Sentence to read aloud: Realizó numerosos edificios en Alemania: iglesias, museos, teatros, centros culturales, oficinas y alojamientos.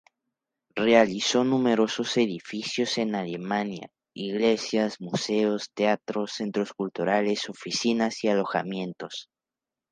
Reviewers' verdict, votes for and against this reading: accepted, 2, 0